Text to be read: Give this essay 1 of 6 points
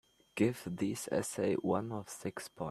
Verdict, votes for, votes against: rejected, 0, 2